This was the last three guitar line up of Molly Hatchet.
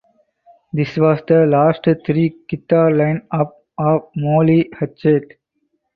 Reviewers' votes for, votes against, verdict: 4, 2, accepted